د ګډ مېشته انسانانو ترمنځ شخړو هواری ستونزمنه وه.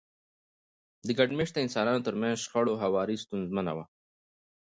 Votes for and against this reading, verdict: 2, 0, accepted